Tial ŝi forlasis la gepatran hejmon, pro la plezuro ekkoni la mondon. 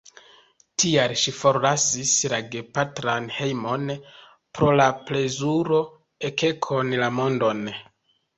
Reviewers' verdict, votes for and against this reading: rejected, 1, 2